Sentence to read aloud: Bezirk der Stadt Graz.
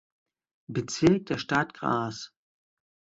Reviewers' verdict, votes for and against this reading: rejected, 0, 3